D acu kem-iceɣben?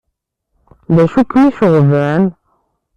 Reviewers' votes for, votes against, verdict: 1, 2, rejected